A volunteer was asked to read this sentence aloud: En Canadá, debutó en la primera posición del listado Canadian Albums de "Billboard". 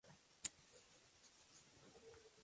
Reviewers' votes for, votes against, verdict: 0, 2, rejected